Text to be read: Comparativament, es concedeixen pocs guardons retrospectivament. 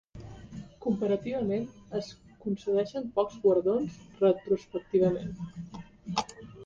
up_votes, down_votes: 2, 0